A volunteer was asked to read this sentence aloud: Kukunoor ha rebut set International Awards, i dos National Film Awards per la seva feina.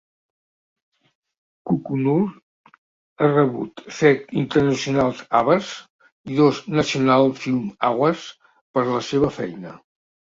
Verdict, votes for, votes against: rejected, 0, 2